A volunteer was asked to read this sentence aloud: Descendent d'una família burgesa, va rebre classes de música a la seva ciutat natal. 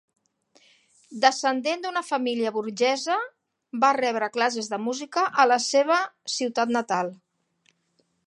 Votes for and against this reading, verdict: 1, 2, rejected